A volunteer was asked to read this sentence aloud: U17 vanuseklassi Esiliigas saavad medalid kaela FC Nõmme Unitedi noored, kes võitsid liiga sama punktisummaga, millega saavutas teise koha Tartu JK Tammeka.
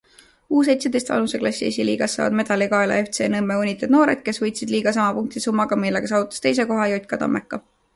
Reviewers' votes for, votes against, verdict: 0, 2, rejected